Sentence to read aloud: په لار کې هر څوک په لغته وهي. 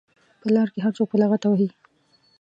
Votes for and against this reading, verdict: 2, 0, accepted